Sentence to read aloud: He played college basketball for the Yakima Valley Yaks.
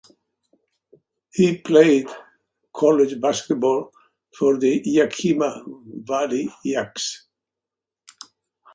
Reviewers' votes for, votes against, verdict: 2, 0, accepted